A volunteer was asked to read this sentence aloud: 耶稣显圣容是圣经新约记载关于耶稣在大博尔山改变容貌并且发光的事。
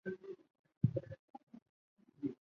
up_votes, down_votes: 0, 2